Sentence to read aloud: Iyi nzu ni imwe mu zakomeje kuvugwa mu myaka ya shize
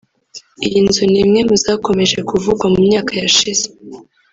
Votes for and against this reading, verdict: 1, 2, rejected